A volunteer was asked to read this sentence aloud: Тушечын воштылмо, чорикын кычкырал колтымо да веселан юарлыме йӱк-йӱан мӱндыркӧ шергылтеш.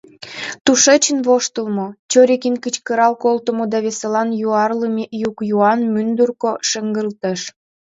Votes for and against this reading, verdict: 0, 2, rejected